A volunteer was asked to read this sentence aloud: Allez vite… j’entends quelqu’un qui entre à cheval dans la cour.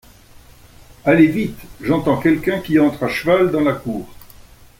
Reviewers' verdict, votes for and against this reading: accepted, 2, 0